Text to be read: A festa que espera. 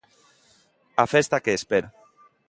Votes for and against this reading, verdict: 2, 0, accepted